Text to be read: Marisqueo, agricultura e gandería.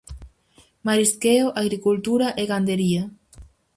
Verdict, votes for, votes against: accepted, 4, 0